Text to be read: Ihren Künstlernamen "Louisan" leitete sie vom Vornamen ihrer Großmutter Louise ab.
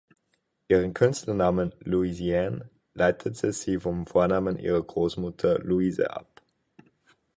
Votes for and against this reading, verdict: 4, 0, accepted